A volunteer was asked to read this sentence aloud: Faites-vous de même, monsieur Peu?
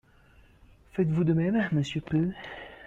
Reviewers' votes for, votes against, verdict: 1, 2, rejected